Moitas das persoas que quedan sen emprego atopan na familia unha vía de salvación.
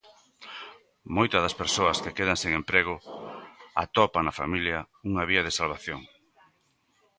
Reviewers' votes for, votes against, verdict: 2, 0, accepted